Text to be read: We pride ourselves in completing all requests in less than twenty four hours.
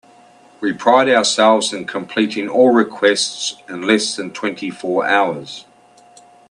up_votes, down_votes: 2, 0